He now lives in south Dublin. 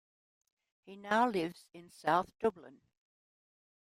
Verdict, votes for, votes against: accepted, 2, 1